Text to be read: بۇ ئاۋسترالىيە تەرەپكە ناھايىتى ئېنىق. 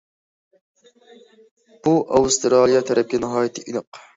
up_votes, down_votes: 2, 0